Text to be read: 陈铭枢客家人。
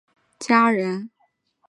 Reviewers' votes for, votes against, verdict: 1, 3, rejected